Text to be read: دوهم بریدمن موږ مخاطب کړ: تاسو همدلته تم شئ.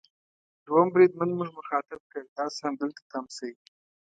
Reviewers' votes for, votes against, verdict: 2, 0, accepted